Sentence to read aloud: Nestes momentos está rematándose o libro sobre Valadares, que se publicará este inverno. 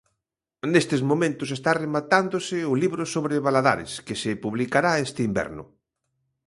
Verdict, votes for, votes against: accepted, 2, 0